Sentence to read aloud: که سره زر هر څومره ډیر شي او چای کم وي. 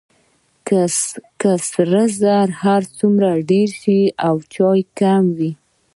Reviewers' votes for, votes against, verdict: 2, 0, accepted